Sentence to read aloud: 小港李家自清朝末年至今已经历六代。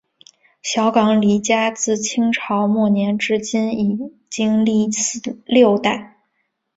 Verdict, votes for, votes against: accepted, 2, 0